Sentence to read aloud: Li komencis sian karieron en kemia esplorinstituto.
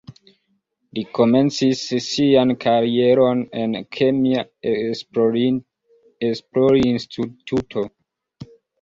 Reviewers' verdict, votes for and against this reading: accepted, 2, 0